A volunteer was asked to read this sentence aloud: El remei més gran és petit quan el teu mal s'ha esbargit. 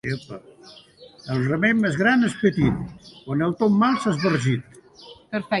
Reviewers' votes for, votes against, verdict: 0, 2, rejected